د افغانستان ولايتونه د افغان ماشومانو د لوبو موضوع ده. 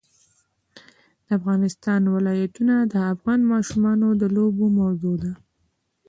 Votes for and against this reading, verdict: 2, 1, accepted